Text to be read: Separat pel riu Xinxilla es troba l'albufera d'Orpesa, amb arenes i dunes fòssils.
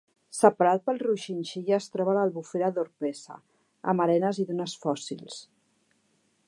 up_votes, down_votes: 2, 0